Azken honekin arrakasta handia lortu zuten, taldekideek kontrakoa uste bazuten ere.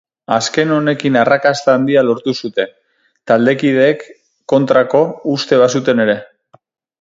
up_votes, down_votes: 2, 4